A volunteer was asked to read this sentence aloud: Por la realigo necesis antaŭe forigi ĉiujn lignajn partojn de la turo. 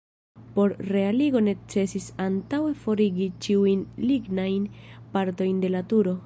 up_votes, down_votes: 1, 2